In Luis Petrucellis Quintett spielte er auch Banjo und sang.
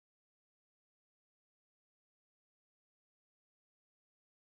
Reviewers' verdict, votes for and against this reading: rejected, 0, 2